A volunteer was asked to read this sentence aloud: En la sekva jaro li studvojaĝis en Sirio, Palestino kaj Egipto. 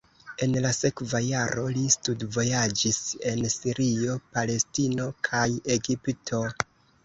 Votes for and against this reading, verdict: 2, 1, accepted